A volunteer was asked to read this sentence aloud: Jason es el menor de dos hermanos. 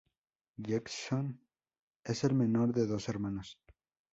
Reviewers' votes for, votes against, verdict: 2, 0, accepted